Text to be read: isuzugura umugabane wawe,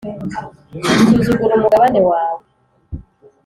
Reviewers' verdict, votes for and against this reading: accepted, 2, 0